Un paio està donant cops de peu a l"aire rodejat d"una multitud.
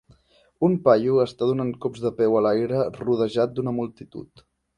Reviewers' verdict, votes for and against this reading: accepted, 2, 0